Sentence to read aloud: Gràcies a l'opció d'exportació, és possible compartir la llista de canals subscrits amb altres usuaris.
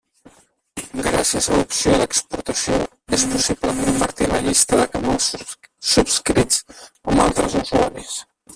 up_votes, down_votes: 2, 4